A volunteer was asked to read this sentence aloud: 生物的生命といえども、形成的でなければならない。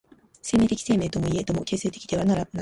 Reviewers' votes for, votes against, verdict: 0, 3, rejected